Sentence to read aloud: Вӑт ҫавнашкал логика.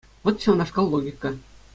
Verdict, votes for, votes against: accepted, 2, 0